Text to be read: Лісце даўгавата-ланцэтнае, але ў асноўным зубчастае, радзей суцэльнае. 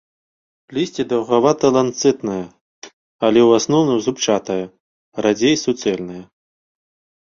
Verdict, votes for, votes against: rejected, 0, 2